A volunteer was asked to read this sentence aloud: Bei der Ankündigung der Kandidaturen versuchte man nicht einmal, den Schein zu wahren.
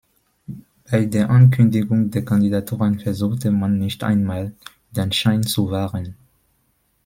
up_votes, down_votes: 2, 0